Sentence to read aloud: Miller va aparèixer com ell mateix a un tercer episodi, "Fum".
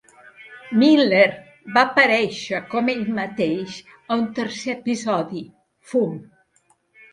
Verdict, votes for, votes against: accepted, 3, 0